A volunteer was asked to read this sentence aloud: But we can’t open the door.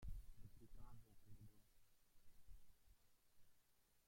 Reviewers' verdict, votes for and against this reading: rejected, 1, 2